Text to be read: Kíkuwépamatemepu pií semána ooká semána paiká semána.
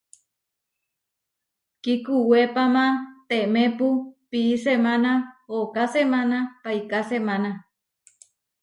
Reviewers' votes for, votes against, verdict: 2, 0, accepted